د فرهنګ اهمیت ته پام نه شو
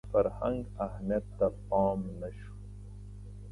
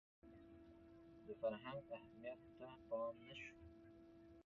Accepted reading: first